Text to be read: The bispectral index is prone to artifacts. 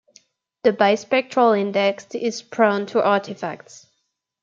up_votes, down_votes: 2, 0